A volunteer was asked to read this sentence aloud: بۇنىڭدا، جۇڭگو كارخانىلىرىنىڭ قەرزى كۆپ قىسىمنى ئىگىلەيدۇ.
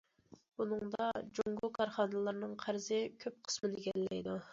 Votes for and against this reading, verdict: 1, 2, rejected